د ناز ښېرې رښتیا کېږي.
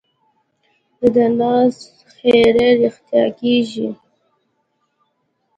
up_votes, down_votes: 2, 0